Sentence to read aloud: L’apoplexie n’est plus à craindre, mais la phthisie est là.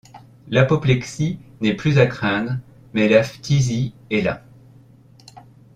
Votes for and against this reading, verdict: 2, 0, accepted